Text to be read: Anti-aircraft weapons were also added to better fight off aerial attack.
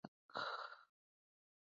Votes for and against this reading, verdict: 0, 2, rejected